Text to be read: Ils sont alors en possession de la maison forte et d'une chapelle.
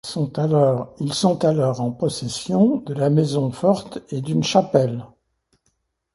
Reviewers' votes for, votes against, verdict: 0, 2, rejected